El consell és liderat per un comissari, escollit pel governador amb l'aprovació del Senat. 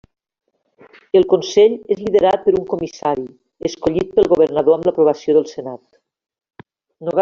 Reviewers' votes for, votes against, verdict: 0, 2, rejected